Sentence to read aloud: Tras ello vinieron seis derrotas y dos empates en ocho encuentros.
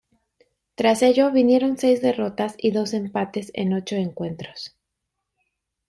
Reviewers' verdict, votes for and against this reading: accepted, 2, 0